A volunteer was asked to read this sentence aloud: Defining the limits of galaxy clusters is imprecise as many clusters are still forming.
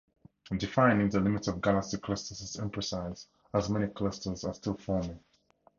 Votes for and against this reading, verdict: 4, 0, accepted